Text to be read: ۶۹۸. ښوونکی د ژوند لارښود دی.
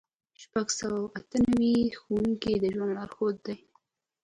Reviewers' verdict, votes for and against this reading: rejected, 0, 2